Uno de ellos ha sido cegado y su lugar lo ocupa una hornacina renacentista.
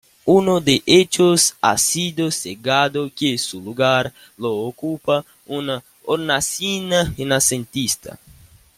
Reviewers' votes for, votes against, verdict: 2, 0, accepted